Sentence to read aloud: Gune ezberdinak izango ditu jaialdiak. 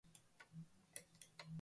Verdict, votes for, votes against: rejected, 1, 3